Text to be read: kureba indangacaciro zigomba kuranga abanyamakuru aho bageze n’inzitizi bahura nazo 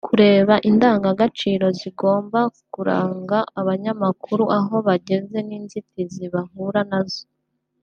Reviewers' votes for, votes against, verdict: 1, 2, rejected